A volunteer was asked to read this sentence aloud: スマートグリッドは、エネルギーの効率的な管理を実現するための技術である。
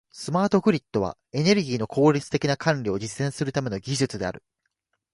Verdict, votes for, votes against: accepted, 2, 0